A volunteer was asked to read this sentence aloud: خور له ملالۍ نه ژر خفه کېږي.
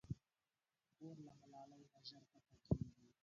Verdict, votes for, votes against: rejected, 0, 3